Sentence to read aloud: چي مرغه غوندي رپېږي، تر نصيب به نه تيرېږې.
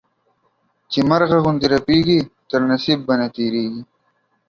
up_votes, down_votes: 1, 2